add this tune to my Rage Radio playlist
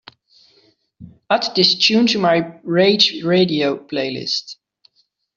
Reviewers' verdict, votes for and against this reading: accepted, 2, 0